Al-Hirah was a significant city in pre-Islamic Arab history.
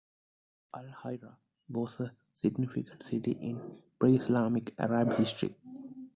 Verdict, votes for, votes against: accepted, 2, 0